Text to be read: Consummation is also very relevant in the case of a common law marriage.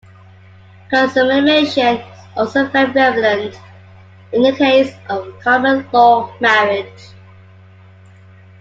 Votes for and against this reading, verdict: 2, 1, accepted